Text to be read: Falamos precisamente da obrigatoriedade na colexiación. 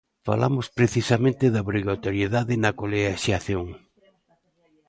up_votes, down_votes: 0, 2